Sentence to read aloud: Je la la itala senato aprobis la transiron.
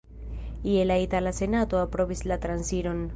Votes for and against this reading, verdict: 0, 2, rejected